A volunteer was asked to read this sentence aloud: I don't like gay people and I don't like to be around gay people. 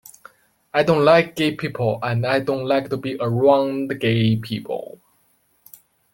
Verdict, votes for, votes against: accepted, 3, 2